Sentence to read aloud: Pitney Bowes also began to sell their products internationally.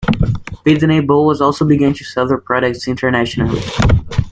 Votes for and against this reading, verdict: 2, 0, accepted